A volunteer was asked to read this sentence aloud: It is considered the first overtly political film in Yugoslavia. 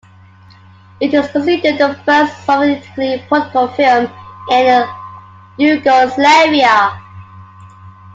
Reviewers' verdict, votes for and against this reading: rejected, 0, 2